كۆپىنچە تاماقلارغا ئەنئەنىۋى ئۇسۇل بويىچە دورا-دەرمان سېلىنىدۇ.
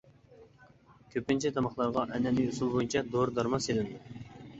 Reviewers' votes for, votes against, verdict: 0, 2, rejected